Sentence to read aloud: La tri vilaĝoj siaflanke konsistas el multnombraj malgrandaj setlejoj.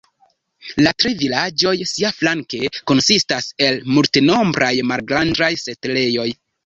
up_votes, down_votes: 1, 2